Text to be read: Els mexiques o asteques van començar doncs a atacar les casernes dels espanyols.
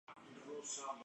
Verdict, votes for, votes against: rejected, 0, 2